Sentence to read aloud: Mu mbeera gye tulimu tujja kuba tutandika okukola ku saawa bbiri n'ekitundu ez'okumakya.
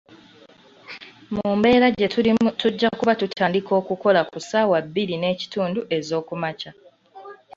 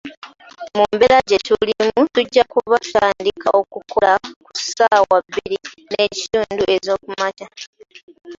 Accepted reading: first